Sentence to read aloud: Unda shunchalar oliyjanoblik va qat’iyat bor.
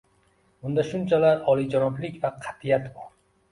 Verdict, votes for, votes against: accepted, 2, 0